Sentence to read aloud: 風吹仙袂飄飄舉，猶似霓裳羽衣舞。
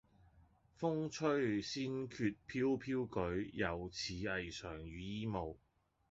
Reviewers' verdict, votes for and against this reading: rejected, 1, 2